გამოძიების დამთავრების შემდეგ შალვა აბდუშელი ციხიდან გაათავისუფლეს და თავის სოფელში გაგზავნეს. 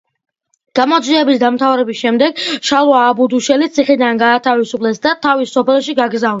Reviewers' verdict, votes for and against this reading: accepted, 2, 0